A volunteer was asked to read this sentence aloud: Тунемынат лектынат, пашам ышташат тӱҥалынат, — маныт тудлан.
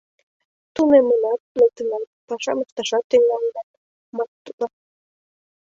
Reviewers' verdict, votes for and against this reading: rejected, 1, 2